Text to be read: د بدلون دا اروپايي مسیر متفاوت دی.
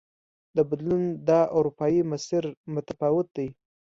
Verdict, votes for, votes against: accepted, 2, 0